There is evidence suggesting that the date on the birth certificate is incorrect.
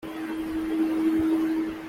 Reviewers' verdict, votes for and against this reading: rejected, 0, 2